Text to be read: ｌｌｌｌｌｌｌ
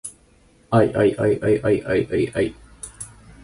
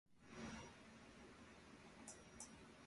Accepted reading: first